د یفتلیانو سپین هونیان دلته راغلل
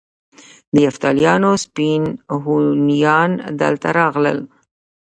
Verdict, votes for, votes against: rejected, 0, 2